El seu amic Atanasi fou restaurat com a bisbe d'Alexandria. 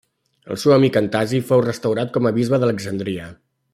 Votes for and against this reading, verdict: 1, 2, rejected